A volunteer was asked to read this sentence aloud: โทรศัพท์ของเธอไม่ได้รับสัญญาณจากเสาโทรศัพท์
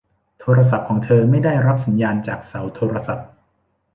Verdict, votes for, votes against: accepted, 2, 0